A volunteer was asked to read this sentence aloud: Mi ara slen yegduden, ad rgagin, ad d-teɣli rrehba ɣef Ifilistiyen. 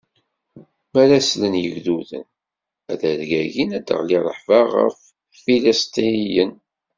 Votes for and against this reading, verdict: 1, 2, rejected